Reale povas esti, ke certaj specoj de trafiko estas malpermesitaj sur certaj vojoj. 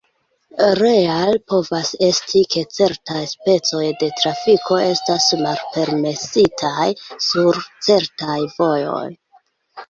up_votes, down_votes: 2, 0